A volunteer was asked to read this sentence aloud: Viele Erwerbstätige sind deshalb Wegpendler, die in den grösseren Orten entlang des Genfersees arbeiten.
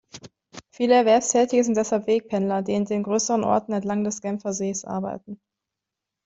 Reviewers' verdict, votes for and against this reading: accepted, 2, 0